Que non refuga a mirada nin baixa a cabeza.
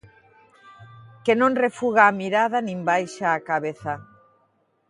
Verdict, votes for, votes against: accepted, 2, 0